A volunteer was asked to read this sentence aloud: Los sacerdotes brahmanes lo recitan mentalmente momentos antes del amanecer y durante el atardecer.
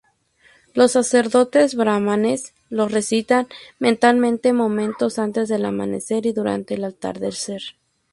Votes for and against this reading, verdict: 0, 2, rejected